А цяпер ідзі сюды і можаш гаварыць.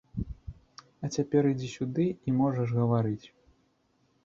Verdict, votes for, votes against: accepted, 2, 0